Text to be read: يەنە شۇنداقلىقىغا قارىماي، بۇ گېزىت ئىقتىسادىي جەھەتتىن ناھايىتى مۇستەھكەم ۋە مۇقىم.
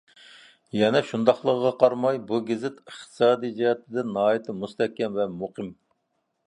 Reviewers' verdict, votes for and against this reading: accepted, 2, 0